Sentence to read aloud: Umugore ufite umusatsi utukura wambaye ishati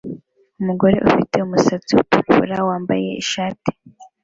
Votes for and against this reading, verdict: 2, 0, accepted